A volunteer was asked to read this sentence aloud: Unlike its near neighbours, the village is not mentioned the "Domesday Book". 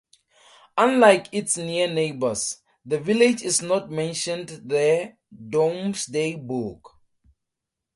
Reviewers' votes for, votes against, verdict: 2, 0, accepted